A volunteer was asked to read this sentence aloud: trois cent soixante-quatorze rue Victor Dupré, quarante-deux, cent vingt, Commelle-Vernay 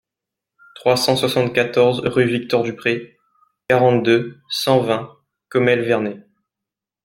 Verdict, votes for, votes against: accepted, 2, 0